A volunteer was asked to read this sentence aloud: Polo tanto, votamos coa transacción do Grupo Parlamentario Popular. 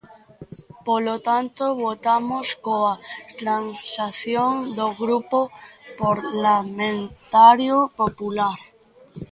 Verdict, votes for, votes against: rejected, 0, 2